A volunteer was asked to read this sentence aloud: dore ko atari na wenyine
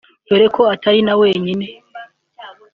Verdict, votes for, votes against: accepted, 2, 0